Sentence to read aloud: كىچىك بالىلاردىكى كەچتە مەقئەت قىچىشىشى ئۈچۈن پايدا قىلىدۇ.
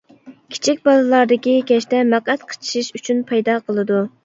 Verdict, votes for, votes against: rejected, 1, 2